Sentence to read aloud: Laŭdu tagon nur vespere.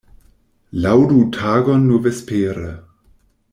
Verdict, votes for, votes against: rejected, 1, 2